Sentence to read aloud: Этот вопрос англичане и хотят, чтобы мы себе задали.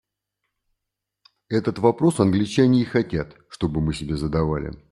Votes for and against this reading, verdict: 0, 2, rejected